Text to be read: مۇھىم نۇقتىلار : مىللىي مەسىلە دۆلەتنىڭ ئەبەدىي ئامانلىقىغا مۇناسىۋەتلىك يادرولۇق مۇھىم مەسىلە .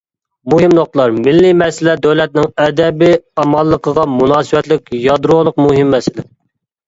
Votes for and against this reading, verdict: 1, 2, rejected